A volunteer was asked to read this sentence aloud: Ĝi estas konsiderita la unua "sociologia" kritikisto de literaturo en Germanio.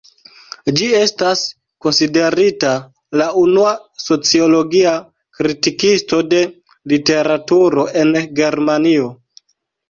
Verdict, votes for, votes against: accepted, 2, 0